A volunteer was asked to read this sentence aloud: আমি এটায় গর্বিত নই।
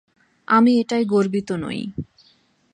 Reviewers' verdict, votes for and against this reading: accepted, 8, 0